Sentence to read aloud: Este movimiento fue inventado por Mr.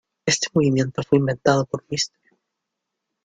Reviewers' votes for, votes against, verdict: 1, 2, rejected